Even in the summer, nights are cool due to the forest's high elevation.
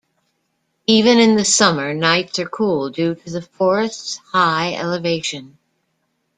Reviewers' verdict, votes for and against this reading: accepted, 2, 0